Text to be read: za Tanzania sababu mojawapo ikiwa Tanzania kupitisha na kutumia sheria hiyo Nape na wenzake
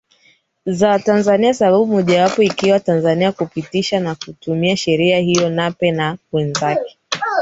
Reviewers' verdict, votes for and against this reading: rejected, 2, 3